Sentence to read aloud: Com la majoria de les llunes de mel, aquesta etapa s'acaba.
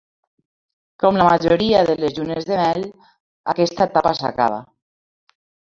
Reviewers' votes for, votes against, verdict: 1, 2, rejected